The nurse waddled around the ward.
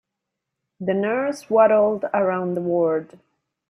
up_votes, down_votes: 3, 0